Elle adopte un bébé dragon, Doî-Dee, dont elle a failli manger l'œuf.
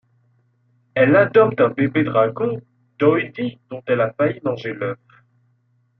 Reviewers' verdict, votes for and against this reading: accepted, 2, 0